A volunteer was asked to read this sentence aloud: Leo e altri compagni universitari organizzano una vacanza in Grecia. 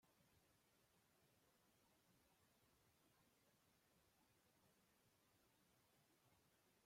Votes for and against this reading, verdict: 0, 2, rejected